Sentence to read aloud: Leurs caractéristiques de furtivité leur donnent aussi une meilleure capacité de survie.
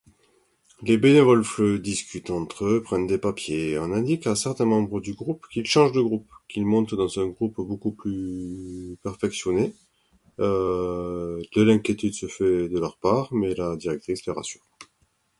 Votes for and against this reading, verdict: 0, 2, rejected